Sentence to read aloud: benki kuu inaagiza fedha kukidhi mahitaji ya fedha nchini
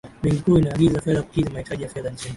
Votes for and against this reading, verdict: 2, 0, accepted